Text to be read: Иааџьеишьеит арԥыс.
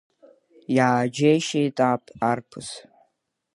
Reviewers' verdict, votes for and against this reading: rejected, 0, 2